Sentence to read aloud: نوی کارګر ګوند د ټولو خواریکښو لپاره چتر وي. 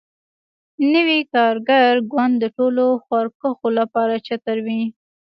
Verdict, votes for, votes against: rejected, 0, 2